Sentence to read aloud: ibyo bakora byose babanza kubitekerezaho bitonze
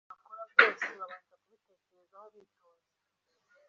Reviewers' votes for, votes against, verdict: 0, 2, rejected